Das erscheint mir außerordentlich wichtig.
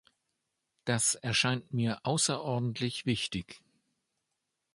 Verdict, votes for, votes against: accepted, 2, 0